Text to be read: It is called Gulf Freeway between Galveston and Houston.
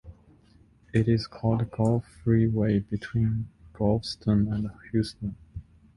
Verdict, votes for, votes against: accepted, 2, 0